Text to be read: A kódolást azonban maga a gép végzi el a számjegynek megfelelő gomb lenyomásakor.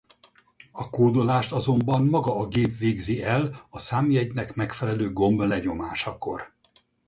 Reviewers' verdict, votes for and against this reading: rejected, 2, 2